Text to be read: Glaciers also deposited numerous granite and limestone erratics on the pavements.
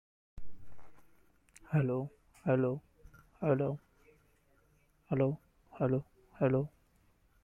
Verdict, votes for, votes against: rejected, 0, 2